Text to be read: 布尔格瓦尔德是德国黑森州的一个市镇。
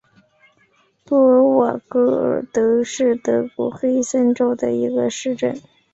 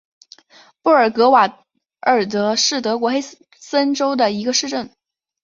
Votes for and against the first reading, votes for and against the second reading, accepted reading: 5, 1, 1, 2, first